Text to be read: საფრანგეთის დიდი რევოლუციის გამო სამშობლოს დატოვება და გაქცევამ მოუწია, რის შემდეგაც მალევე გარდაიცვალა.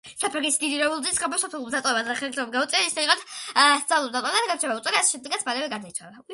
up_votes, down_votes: 1, 2